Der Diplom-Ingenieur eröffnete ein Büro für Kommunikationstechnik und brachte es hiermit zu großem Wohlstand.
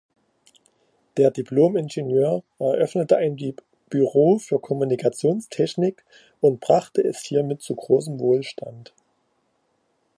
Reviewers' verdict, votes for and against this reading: rejected, 1, 2